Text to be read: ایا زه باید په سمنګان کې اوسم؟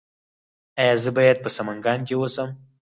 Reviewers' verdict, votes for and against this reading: rejected, 2, 4